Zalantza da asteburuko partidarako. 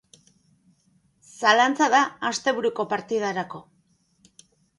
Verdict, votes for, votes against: accepted, 2, 0